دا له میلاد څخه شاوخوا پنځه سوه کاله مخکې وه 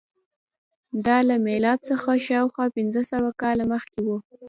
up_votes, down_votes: 0, 2